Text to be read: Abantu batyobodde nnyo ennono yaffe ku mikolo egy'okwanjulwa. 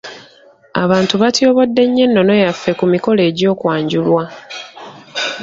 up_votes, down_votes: 2, 0